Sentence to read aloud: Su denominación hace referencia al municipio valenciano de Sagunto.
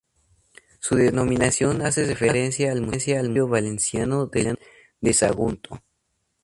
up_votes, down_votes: 0, 2